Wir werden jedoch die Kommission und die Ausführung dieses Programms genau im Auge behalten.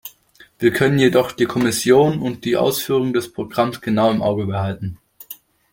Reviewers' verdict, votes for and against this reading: rejected, 0, 2